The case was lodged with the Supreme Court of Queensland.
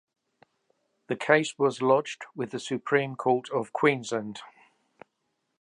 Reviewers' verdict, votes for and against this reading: accepted, 2, 0